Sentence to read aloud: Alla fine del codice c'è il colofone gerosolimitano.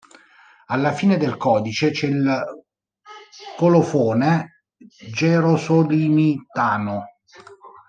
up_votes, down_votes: 1, 2